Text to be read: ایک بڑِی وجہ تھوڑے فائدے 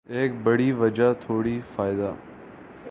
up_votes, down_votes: 3, 3